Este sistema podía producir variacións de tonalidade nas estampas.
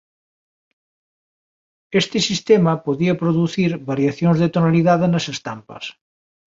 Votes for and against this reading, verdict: 2, 0, accepted